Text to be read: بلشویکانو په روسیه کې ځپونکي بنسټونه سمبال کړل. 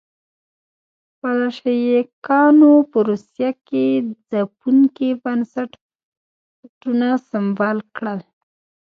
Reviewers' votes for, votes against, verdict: 0, 2, rejected